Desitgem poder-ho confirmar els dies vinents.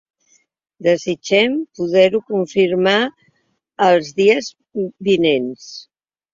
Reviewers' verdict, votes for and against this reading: accepted, 2, 0